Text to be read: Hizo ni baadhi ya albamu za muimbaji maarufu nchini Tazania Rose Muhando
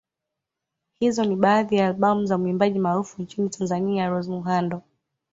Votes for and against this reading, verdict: 2, 1, accepted